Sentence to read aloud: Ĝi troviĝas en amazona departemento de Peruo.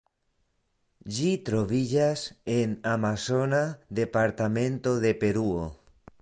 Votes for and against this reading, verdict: 1, 2, rejected